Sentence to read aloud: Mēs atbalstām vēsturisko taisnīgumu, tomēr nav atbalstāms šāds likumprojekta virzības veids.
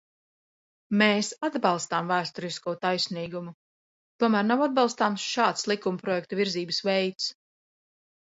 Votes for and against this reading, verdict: 2, 0, accepted